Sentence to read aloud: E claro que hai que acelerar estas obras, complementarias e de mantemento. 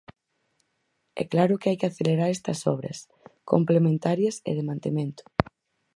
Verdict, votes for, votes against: accepted, 4, 0